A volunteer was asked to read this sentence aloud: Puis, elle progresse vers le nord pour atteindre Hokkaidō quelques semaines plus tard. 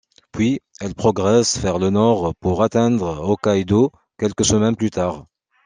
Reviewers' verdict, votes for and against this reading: accepted, 2, 0